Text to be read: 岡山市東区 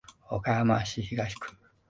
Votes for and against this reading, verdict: 2, 0, accepted